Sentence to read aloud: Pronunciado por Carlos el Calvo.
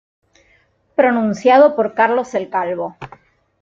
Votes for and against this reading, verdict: 2, 0, accepted